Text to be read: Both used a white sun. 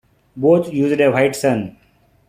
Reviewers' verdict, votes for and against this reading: accepted, 2, 0